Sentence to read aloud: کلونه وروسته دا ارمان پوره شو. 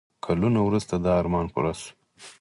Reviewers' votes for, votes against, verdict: 2, 4, rejected